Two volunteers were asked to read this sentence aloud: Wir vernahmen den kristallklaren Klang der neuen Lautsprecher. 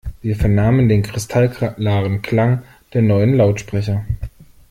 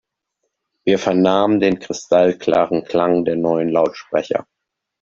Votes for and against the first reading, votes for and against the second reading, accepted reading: 1, 2, 2, 0, second